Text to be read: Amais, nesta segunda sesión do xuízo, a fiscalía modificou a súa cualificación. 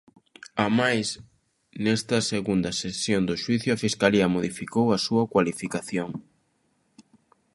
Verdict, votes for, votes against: rejected, 1, 2